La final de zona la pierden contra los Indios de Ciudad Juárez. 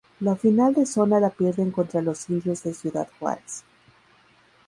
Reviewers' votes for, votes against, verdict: 0, 2, rejected